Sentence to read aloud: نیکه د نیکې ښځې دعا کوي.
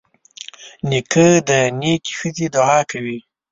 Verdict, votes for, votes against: accepted, 2, 0